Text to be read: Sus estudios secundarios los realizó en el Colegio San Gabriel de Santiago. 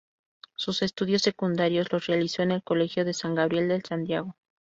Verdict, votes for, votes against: rejected, 0, 2